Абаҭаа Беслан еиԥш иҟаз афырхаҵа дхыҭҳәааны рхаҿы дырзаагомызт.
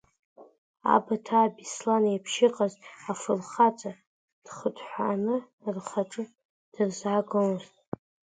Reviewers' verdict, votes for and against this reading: accepted, 2, 0